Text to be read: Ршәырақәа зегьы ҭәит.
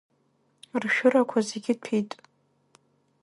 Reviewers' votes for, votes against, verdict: 2, 1, accepted